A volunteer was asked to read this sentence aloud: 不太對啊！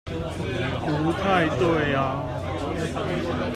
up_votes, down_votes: 1, 2